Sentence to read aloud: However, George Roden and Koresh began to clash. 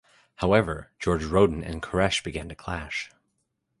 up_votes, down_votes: 2, 0